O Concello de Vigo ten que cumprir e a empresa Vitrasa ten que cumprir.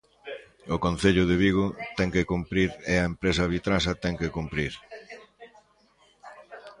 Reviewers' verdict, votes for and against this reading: rejected, 1, 2